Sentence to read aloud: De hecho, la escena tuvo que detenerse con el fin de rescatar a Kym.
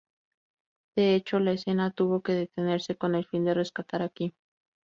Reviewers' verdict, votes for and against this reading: accepted, 4, 0